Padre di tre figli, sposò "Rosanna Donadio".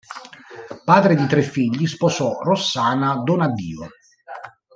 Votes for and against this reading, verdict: 0, 2, rejected